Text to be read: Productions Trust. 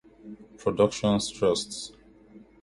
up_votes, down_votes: 1, 2